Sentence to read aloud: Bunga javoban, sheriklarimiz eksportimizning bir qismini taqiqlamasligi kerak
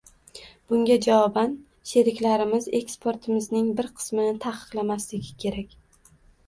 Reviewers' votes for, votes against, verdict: 1, 2, rejected